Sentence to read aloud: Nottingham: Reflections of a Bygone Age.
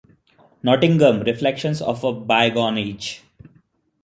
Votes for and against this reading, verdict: 2, 0, accepted